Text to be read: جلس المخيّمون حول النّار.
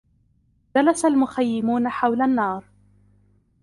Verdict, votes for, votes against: accepted, 2, 1